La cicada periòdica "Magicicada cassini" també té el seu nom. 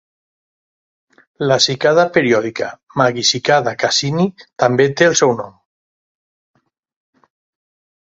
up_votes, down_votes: 2, 0